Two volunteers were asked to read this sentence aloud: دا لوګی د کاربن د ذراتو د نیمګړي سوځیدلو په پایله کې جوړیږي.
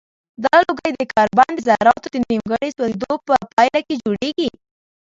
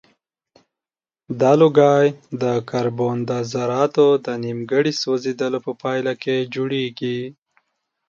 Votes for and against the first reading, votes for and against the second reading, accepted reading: 0, 2, 2, 0, second